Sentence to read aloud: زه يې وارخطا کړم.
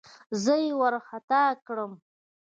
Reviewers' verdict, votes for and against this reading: accepted, 2, 0